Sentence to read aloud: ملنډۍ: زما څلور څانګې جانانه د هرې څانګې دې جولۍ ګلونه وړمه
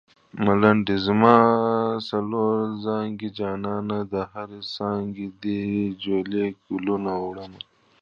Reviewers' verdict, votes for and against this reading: rejected, 0, 2